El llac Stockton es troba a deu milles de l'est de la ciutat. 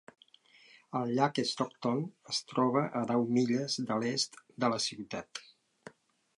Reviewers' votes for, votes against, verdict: 3, 0, accepted